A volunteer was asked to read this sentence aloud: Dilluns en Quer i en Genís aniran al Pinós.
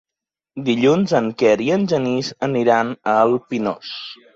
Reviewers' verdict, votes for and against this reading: accepted, 2, 0